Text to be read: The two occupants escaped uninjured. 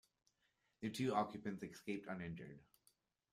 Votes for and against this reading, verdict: 2, 0, accepted